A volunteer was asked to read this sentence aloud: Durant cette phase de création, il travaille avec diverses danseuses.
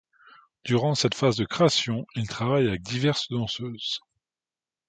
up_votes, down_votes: 2, 0